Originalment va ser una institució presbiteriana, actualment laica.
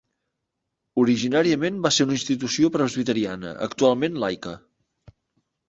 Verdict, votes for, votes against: rejected, 0, 2